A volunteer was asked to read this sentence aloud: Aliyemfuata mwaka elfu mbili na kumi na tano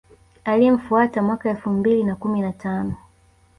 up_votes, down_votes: 3, 0